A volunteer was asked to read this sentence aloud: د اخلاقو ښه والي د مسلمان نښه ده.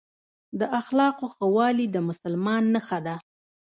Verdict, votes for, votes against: rejected, 1, 2